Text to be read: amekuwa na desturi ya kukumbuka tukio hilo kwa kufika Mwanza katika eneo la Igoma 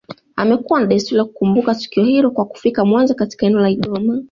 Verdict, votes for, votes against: accepted, 2, 0